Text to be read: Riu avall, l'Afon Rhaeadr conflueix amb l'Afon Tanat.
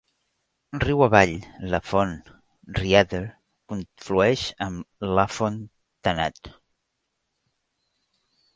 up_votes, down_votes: 1, 2